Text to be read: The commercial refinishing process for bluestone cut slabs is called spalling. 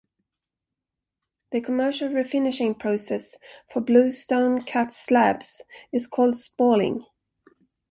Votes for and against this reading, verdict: 1, 2, rejected